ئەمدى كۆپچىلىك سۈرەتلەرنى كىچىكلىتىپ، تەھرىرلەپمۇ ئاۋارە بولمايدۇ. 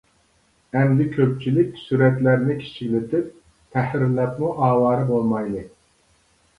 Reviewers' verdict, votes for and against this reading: rejected, 0, 2